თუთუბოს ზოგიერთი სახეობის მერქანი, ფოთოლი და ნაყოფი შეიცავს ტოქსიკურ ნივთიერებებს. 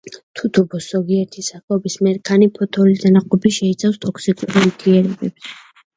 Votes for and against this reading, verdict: 1, 2, rejected